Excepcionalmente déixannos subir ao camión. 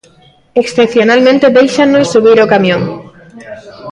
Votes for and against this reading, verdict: 1, 2, rejected